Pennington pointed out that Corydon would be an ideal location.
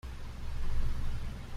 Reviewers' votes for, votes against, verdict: 0, 2, rejected